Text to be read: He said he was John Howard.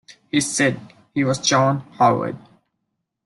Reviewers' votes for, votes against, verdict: 2, 0, accepted